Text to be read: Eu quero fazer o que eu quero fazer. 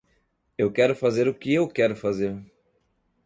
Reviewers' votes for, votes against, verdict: 2, 0, accepted